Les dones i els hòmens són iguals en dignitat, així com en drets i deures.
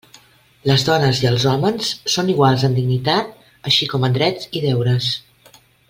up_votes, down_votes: 2, 0